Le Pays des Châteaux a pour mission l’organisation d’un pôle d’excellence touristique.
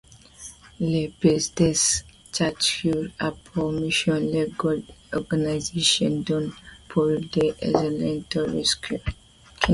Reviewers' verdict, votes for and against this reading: rejected, 1, 2